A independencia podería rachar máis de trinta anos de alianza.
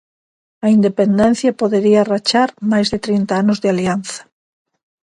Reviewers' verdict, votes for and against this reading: accepted, 2, 0